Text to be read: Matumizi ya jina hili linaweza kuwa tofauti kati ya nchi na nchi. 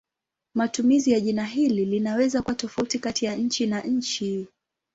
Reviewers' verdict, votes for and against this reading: accepted, 7, 2